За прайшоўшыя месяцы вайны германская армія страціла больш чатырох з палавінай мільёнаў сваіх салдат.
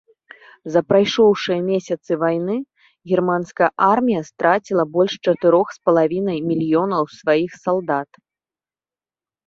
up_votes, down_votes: 2, 0